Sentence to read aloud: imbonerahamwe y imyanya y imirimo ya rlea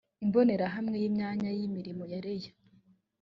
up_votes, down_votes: 2, 0